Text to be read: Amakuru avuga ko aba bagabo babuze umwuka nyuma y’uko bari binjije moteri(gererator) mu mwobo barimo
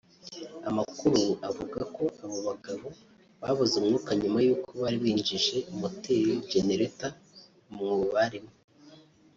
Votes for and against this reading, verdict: 0, 2, rejected